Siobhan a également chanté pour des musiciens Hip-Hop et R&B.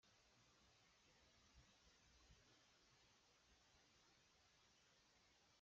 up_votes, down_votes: 0, 2